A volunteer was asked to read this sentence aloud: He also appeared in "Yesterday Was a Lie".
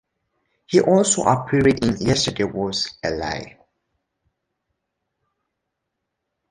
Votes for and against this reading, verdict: 2, 0, accepted